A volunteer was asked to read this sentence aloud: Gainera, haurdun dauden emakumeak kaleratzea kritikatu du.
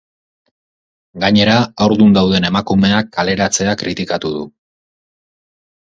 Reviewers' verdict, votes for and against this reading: accepted, 6, 0